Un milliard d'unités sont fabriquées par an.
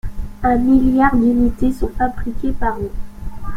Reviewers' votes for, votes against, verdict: 0, 2, rejected